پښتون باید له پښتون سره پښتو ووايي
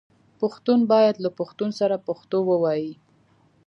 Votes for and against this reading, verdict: 2, 0, accepted